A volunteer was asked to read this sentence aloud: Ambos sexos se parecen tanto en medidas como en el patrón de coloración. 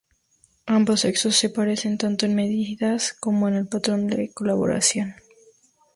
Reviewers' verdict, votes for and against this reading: rejected, 0, 4